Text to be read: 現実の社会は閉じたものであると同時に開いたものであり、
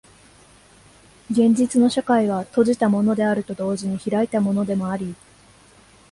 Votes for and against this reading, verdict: 0, 2, rejected